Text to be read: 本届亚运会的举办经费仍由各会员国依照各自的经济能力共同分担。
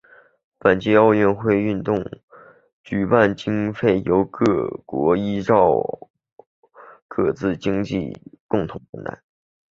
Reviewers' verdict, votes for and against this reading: accepted, 5, 4